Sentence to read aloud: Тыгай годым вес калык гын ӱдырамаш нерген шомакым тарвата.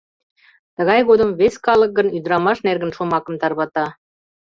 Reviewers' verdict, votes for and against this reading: rejected, 0, 2